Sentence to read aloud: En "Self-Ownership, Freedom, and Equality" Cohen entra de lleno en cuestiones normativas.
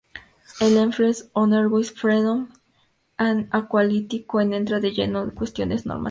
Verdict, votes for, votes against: rejected, 0, 4